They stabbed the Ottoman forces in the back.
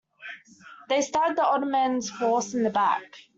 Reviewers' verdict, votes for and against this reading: accepted, 2, 1